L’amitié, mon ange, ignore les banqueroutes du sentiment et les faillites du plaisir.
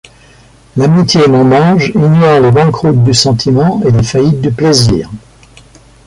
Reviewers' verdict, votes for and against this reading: accepted, 2, 0